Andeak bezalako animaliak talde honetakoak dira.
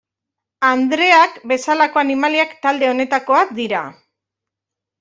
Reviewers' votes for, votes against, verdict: 1, 2, rejected